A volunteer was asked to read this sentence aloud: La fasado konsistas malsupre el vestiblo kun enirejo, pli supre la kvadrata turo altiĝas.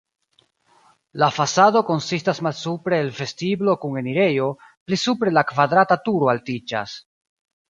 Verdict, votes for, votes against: accepted, 2, 0